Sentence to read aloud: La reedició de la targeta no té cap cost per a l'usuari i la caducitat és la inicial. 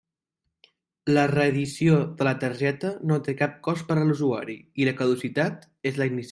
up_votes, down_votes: 0, 2